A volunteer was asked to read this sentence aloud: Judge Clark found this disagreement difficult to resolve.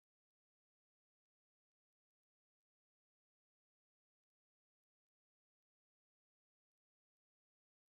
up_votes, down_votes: 0, 3